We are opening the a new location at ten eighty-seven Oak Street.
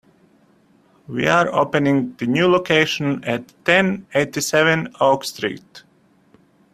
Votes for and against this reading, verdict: 1, 2, rejected